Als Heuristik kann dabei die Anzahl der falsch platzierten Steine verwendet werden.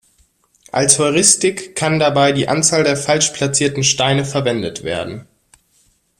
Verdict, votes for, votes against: accepted, 2, 0